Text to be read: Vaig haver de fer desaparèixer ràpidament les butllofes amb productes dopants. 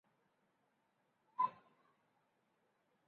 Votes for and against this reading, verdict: 0, 2, rejected